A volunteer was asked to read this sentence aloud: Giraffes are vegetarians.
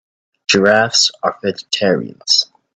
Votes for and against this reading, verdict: 2, 0, accepted